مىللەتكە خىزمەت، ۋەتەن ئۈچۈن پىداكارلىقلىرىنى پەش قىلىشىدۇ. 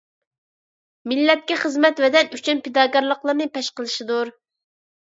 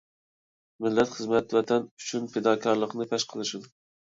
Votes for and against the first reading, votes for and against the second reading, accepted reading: 2, 0, 1, 2, first